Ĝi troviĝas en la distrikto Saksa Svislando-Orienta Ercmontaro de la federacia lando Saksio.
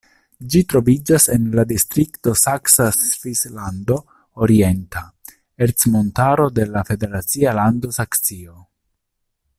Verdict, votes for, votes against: accepted, 2, 0